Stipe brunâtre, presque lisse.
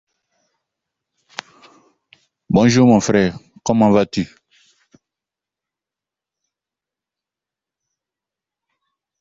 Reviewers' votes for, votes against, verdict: 0, 2, rejected